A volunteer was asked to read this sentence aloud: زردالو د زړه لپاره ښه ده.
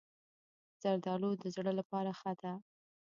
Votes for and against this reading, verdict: 0, 2, rejected